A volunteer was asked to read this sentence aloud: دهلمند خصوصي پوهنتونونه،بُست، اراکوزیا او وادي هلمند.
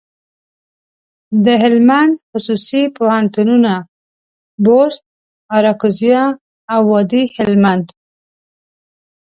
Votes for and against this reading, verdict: 2, 0, accepted